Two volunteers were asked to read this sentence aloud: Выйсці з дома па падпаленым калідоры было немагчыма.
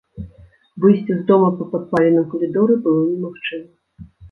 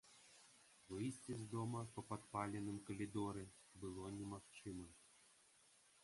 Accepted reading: second